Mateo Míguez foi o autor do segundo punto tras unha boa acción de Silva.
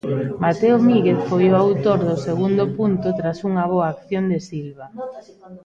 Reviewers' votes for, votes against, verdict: 1, 2, rejected